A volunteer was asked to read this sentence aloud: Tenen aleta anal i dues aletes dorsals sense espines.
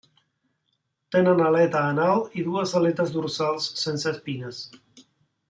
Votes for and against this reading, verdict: 2, 0, accepted